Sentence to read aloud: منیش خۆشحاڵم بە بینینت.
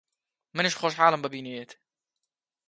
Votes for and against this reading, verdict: 3, 0, accepted